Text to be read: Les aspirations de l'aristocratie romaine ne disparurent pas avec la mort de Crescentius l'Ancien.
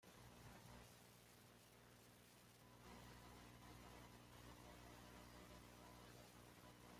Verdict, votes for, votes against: rejected, 0, 2